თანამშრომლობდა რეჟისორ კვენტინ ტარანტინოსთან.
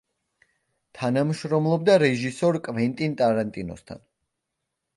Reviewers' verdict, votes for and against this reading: accepted, 2, 0